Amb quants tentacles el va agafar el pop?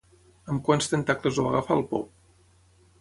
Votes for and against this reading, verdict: 3, 3, rejected